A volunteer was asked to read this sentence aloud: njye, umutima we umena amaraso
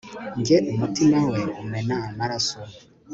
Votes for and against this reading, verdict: 3, 0, accepted